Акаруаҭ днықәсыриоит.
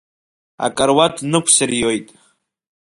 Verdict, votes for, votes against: accepted, 2, 0